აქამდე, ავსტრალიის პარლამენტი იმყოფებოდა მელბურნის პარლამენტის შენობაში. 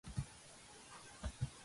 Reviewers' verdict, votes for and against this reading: rejected, 0, 3